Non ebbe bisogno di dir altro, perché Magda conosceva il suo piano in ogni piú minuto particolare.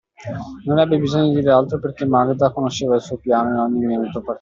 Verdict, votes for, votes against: rejected, 0, 2